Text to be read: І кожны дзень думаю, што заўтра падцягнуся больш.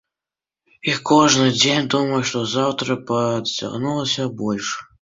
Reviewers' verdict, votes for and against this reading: accepted, 2, 0